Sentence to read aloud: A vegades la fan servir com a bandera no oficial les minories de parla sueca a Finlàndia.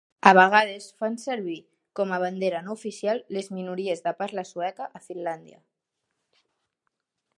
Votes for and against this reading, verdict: 1, 2, rejected